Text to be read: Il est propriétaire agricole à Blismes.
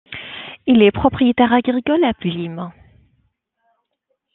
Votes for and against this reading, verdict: 2, 1, accepted